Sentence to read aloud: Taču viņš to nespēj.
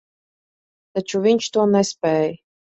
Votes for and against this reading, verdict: 2, 0, accepted